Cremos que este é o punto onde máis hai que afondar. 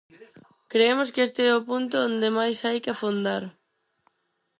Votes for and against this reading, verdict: 0, 4, rejected